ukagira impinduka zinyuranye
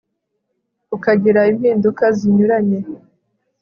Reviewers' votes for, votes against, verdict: 2, 0, accepted